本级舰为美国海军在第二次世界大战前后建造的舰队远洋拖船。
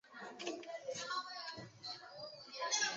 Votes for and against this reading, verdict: 1, 5, rejected